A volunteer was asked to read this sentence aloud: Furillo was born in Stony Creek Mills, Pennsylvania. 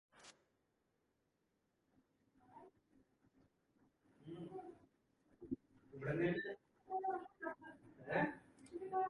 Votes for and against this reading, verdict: 0, 2, rejected